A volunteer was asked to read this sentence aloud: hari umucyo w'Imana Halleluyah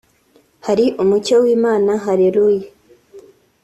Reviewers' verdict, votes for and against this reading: accepted, 3, 0